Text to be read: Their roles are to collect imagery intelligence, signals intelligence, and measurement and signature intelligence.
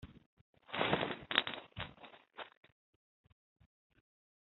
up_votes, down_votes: 0, 2